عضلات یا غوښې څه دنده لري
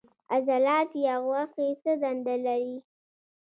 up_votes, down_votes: 2, 0